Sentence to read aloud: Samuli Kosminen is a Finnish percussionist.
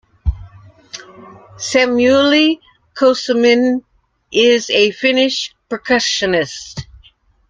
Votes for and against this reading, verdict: 0, 2, rejected